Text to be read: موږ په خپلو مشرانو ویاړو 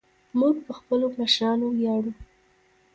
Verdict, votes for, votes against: rejected, 1, 2